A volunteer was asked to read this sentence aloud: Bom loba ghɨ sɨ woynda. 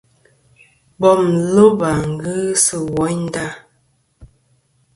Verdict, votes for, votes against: accepted, 2, 0